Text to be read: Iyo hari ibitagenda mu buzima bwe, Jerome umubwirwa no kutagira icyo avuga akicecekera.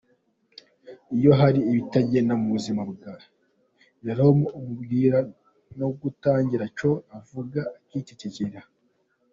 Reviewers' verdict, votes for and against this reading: rejected, 1, 2